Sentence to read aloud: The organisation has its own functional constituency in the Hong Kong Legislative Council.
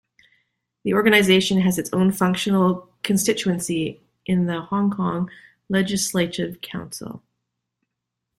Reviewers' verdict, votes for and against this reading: accepted, 2, 0